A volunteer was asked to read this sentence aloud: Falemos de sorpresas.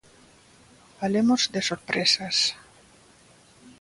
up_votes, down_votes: 2, 0